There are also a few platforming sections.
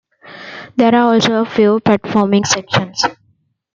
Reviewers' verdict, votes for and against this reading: accepted, 2, 1